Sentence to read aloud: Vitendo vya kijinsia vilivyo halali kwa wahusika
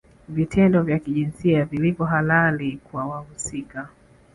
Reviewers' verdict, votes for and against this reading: rejected, 0, 2